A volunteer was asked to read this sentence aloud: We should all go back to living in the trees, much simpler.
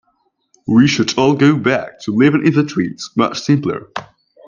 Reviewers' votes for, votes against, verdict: 1, 2, rejected